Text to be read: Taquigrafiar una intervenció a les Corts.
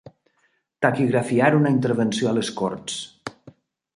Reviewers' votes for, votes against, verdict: 5, 0, accepted